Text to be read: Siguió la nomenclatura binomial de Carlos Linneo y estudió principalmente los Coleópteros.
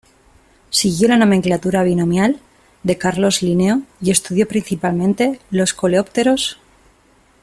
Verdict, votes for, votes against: rejected, 0, 2